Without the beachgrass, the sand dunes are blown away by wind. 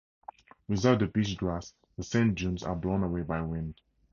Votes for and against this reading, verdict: 4, 0, accepted